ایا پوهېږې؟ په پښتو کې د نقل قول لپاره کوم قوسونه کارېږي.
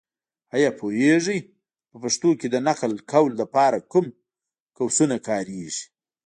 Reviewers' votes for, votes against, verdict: 2, 0, accepted